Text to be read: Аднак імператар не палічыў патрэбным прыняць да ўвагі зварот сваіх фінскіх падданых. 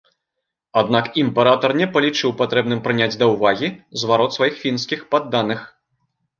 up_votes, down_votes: 2, 1